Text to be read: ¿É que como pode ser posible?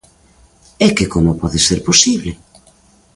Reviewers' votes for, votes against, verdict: 3, 1, accepted